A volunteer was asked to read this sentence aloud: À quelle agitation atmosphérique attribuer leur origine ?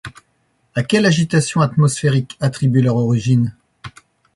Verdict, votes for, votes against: accepted, 2, 0